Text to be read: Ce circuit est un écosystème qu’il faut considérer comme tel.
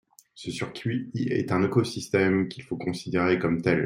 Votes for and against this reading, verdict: 2, 1, accepted